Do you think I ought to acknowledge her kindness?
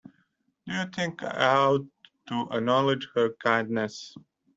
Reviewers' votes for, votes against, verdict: 2, 0, accepted